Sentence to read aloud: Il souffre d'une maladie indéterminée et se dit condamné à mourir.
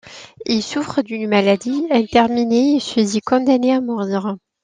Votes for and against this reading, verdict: 1, 2, rejected